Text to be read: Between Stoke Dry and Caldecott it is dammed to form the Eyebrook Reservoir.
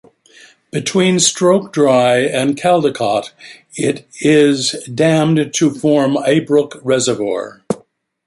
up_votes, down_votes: 1, 2